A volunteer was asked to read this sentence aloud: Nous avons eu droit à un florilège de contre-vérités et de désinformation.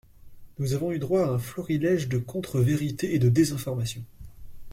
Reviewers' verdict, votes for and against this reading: accepted, 2, 0